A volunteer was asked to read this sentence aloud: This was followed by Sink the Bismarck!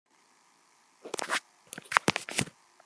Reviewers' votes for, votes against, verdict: 0, 2, rejected